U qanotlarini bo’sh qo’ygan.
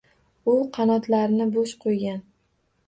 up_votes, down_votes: 2, 2